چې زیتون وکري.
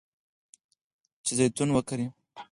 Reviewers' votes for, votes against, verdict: 4, 0, accepted